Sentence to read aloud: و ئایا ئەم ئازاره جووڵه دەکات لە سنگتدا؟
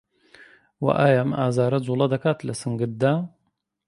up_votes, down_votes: 2, 0